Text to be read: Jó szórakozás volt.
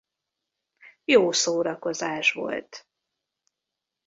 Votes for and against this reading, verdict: 2, 0, accepted